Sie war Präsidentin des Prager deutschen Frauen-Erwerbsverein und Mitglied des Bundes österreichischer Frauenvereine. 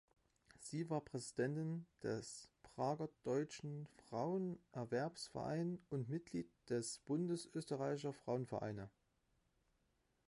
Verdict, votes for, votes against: accepted, 2, 0